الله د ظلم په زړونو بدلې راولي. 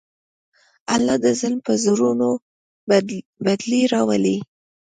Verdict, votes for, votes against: rejected, 1, 2